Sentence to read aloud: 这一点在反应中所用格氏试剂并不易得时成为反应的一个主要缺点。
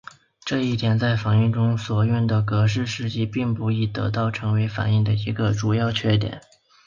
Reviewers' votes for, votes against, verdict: 6, 2, accepted